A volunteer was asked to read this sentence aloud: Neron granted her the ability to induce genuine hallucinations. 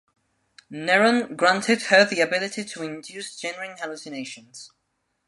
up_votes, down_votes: 2, 0